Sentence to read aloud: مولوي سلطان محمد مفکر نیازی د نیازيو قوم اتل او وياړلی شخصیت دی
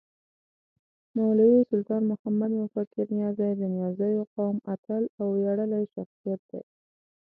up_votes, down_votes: 2, 0